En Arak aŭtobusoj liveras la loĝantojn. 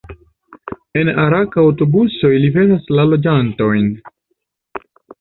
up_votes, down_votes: 2, 0